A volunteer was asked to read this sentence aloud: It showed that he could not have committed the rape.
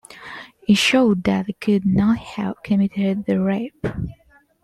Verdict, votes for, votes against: accepted, 2, 1